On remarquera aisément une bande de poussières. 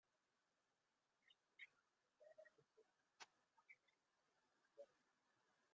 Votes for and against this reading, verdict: 0, 2, rejected